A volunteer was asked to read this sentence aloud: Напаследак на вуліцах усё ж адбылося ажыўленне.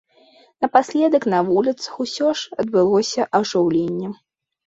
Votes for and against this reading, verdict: 2, 0, accepted